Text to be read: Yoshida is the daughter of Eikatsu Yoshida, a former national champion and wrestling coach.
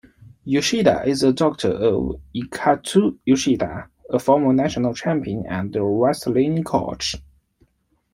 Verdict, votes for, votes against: rejected, 0, 2